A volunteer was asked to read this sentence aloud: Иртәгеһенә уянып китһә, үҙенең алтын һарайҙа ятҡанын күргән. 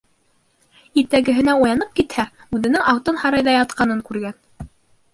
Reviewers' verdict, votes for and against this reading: rejected, 1, 2